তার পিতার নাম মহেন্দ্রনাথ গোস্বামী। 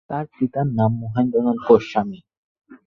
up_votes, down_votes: 4, 0